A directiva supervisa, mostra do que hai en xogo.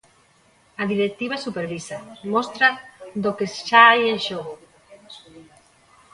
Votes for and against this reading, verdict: 0, 2, rejected